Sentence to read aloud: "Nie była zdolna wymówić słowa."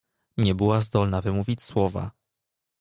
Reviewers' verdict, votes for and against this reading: accepted, 2, 0